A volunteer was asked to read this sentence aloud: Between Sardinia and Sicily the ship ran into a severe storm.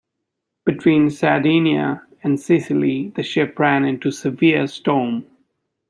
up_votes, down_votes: 2, 0